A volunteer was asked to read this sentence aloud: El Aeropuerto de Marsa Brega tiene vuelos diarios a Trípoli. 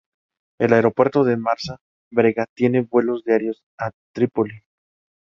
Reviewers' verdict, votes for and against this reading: accepted, 2, 0